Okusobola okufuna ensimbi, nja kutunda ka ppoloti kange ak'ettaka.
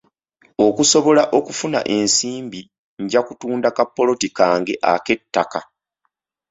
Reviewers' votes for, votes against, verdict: 3, 0, accepted